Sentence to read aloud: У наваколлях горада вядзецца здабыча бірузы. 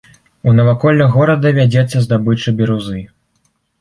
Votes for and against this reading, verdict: 2, 0, accepted